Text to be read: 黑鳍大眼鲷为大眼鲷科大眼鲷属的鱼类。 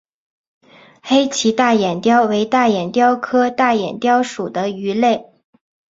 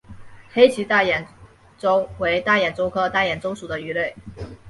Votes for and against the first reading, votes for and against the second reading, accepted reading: 3, 2, 1, 3, first